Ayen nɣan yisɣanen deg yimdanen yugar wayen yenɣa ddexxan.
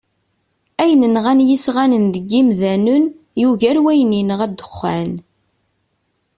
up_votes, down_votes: 2, 0